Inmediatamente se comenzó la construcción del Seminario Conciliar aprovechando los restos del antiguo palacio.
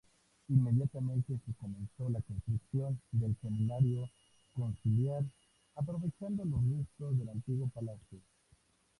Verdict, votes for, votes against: rejected, 0, 2